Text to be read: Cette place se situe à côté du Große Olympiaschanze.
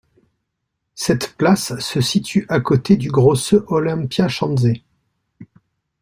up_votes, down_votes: 2, 0